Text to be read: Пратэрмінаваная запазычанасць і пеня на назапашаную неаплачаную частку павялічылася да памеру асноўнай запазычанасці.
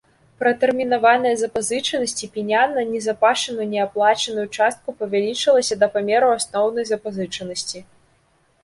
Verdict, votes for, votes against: accepted, 3, 1